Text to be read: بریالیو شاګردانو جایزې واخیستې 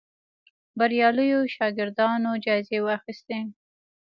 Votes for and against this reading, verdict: 0, 2, rejected